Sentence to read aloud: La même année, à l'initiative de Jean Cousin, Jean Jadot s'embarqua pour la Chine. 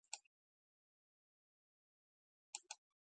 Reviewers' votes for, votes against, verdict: 0, 2, rejected